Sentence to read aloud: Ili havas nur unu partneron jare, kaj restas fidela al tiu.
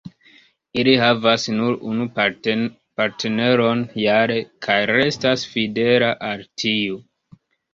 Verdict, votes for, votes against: rejected, 0, 2